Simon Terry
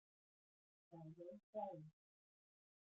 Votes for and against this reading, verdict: 0, 3, rejected